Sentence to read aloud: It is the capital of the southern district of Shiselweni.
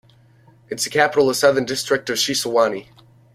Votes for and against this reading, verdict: 1, 2, rejected